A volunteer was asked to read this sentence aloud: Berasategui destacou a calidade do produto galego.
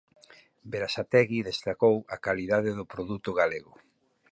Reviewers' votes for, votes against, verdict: 4, 0, accepted